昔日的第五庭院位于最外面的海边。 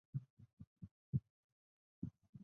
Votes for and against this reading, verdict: 0, 5, rejected